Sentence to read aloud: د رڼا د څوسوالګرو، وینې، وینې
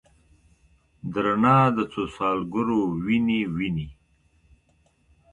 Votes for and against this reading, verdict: 2, 1, accepted